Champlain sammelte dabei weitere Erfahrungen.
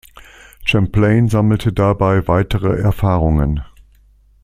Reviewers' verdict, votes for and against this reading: accepted, 2, 0